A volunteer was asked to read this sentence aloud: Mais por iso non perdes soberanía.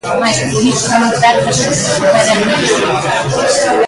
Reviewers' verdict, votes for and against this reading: rejected, 0, 2